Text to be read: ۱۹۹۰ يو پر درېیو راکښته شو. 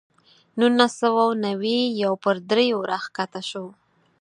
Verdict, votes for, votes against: rejected, 0, 2